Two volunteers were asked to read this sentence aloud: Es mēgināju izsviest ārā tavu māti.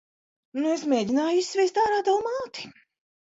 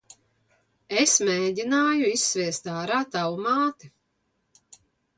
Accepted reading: second